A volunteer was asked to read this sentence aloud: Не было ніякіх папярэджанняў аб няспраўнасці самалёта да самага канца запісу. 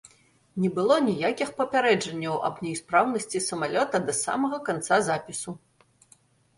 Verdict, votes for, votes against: rejected, 0, 2